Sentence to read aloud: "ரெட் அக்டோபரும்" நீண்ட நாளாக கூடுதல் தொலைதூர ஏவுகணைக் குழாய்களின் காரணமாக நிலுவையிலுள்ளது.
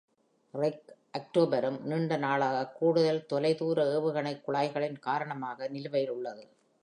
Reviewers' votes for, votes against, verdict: 1, 2, rejected